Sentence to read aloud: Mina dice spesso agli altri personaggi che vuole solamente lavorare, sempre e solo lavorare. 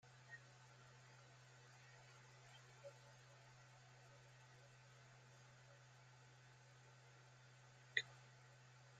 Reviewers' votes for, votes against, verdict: 0, 2, rejected